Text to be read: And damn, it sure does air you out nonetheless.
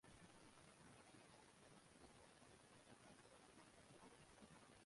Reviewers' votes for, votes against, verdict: 0, 2, rejected